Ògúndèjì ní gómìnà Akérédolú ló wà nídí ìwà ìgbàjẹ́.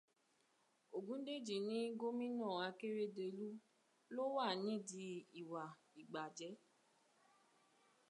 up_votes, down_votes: 1, 2